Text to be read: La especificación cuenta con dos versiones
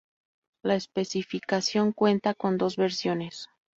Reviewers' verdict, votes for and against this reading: rejected, 2, 2